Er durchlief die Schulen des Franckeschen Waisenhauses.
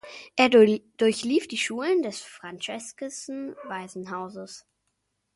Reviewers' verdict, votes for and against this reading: rejected, 0, 2